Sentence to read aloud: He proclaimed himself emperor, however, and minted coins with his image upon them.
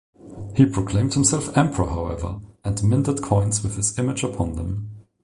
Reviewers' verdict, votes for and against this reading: accepted, 2, 0